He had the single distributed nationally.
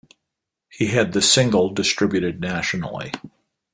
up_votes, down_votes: 2, 0